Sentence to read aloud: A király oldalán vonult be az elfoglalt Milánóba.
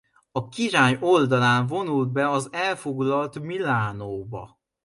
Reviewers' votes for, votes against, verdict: 2, 0, accepted